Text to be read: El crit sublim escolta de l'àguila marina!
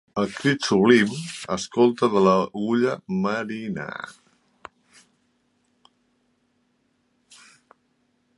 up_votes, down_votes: 0, 2